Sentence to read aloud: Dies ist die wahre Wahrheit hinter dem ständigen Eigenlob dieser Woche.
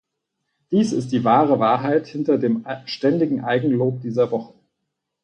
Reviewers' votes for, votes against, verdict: 2, 4, rejected